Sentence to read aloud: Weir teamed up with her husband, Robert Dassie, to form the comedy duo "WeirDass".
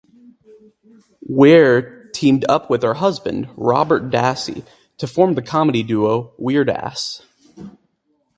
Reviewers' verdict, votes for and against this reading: rejected, 2, 2